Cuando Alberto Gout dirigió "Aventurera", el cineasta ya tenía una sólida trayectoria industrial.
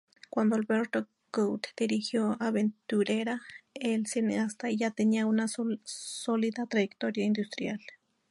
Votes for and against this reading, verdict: 0, 2, rejected